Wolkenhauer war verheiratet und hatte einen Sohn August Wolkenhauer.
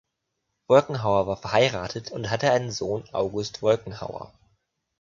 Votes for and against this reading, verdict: 2, 0, accepted